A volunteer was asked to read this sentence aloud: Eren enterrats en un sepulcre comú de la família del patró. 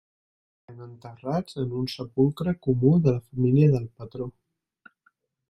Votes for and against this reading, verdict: 0, 2, rejected